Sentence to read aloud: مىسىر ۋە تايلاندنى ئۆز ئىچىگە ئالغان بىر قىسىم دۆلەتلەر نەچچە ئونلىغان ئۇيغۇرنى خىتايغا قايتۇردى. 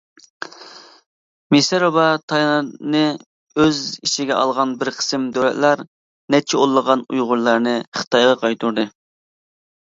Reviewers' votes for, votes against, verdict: 0, 2, rejected